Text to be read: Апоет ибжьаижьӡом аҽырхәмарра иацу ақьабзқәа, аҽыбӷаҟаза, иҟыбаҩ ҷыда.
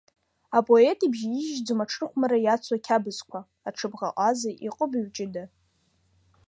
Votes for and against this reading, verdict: 2, 1, accepted